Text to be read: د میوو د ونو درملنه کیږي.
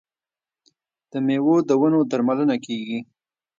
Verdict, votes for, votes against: accepted, 2, 0